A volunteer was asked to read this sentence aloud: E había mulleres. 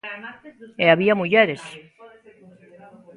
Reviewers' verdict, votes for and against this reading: rejected, 1, 2